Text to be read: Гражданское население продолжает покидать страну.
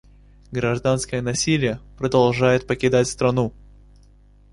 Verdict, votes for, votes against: rejected, 0, 2